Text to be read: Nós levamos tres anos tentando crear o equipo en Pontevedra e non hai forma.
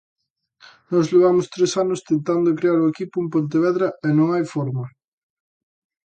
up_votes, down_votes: 2, 0